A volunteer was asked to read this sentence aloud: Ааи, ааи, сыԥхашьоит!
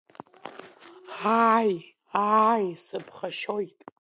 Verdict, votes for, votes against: accepted, 2, 0